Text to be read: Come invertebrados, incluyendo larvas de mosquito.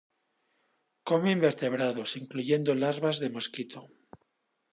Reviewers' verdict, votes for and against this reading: accepted, 2, 0